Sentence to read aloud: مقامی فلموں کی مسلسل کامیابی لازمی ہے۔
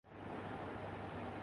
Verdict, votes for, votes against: rejected, 0, 6